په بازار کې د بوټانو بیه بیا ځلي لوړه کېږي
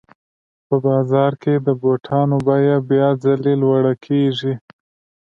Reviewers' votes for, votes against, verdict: 2, 0, accepted